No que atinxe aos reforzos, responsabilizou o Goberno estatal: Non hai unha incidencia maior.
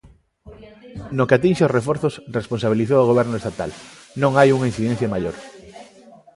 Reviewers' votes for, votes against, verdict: 2, 0, accepted